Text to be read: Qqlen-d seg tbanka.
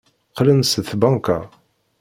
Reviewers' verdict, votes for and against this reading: rejected, 1, 2